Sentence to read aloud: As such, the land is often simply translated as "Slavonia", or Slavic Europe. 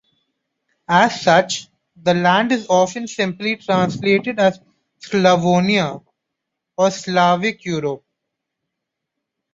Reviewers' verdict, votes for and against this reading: accepted, 2, 0